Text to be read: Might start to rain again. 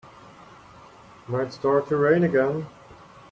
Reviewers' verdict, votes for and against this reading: accepted, 2, 0